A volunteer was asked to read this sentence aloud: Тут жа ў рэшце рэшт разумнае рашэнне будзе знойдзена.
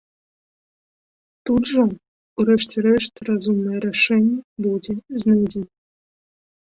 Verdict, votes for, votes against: rejected, 1, 2